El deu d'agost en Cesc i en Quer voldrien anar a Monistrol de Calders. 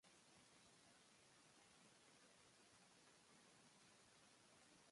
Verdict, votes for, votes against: rejected, 0, 2